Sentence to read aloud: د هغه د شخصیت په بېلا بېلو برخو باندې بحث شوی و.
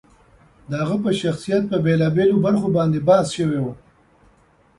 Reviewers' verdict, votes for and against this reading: rejected, 0, 2